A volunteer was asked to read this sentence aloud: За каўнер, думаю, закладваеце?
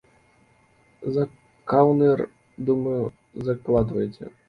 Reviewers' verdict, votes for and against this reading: rejected, 0, 2